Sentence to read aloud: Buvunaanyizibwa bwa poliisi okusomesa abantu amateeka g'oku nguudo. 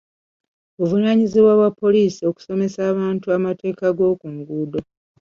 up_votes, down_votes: 2, 1